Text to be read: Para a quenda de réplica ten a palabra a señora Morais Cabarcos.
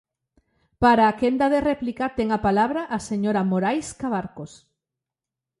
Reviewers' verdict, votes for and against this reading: accepted, 2, 0